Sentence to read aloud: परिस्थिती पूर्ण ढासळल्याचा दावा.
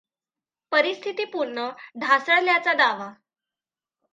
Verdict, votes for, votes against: accepted, 2, 1